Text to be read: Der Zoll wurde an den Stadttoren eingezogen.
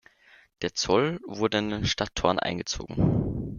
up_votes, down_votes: 2, 0